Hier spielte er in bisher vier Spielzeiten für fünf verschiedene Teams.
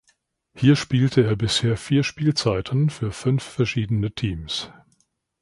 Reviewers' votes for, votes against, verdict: 0, 2, rejected